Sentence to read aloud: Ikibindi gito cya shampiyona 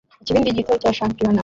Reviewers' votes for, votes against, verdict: 2, 1, accepted